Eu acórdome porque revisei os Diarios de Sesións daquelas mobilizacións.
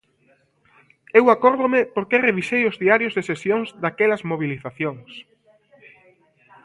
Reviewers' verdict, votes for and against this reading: rejected, 1, 2